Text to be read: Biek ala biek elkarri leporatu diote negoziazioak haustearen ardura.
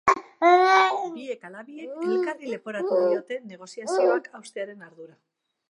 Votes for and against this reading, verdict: 0, 2, rejected